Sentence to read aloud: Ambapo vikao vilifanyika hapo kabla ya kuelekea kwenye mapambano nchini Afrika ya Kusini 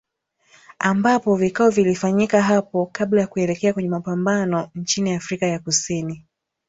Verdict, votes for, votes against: accepted, 4, 0